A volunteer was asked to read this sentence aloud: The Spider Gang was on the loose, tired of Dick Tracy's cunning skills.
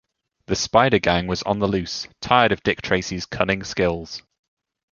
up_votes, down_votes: 2, 0